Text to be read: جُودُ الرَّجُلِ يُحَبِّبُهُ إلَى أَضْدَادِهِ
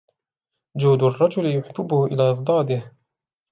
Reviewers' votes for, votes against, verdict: 2, 0, accepted